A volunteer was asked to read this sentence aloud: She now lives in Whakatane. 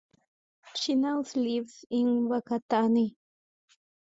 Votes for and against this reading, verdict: 1, 2, rejected